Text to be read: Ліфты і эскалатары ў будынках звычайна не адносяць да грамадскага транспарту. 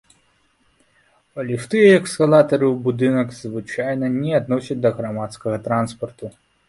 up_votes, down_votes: 0, 3